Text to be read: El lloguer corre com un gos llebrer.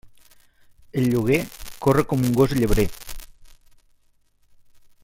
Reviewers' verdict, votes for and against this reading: accepted, 3, 1